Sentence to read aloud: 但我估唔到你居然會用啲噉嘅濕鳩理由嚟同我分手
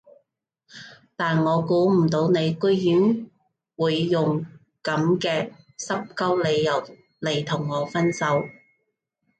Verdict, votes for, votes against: rejected, 0, 2